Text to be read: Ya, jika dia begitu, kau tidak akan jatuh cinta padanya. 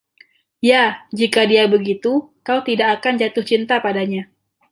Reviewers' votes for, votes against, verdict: 2, 0, accepted